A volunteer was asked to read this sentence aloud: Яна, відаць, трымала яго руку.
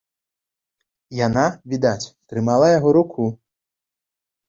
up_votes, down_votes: 2, 0